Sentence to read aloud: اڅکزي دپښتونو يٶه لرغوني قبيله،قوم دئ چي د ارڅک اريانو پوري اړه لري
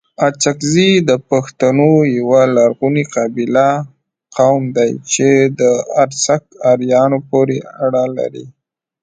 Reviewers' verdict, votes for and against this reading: rejected, 0, 2